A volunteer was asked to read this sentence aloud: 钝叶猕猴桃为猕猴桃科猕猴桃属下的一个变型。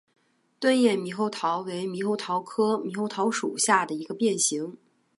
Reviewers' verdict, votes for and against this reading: accepted, 2, 0